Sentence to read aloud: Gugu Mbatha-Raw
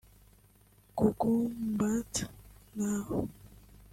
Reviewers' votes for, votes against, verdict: 1, 2, rejected